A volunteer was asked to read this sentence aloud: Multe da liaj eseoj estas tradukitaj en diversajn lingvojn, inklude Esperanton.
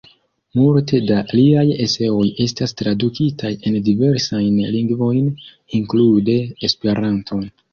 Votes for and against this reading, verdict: 1, 2, rejected